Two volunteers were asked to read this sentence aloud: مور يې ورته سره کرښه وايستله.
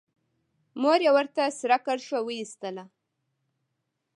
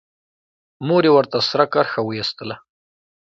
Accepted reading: second